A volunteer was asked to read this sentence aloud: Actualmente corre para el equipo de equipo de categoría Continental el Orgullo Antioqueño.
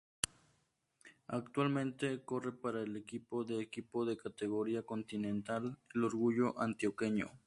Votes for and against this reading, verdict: 2, 2, rejected